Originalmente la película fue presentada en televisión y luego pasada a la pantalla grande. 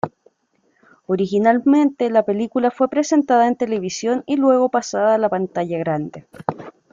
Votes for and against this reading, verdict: 2, 0, accepted